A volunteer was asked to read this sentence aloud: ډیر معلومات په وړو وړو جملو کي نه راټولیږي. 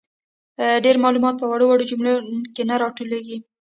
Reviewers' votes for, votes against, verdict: 2, 1, accepted